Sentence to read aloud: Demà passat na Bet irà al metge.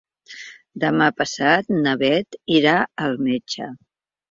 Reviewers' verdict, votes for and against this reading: accepted, 2, 0